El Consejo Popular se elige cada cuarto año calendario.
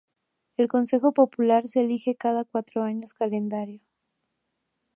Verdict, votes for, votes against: rejected, 2, 2